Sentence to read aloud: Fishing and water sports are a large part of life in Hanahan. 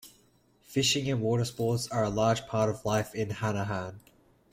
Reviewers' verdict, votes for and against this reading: accepted, 2, 1